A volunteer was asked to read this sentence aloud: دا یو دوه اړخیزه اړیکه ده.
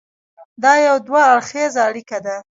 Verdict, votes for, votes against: accepted, 2, 1